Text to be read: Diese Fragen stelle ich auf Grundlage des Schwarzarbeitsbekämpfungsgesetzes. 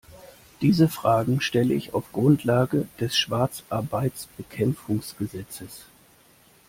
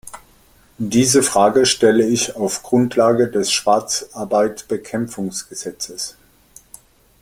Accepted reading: first